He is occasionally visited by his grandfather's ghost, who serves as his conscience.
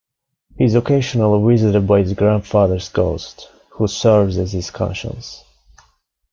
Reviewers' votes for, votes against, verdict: 2, 0, accepted